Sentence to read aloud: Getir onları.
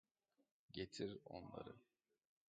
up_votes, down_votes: 1, 2